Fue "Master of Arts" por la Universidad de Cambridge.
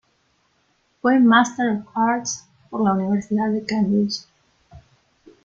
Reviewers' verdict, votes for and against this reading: rejected, 1, 2